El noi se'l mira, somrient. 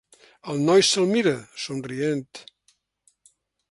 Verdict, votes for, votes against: accepted, 3, 0